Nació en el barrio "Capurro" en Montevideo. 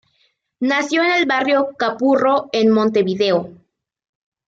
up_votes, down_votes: 2, 0